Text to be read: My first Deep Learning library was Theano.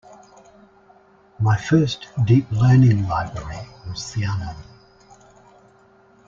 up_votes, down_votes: 2, 0